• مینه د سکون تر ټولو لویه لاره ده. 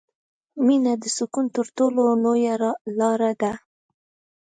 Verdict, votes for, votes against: accepted, 2, 0